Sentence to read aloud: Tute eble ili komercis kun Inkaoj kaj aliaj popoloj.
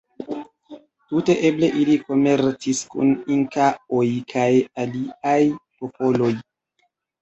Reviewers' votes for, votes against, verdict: 1, 3, rejected